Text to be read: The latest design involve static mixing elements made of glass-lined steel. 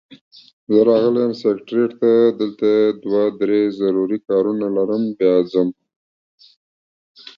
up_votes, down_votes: 0, 2